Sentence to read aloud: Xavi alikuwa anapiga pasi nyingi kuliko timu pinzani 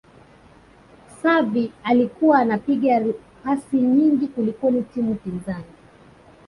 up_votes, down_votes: 2, 0